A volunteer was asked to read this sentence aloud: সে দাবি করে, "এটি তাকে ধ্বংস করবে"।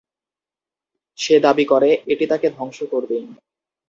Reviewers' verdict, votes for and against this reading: accepted, 2, 0